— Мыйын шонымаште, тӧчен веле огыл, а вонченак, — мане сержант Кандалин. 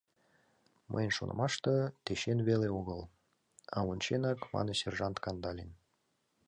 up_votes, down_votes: 2, 0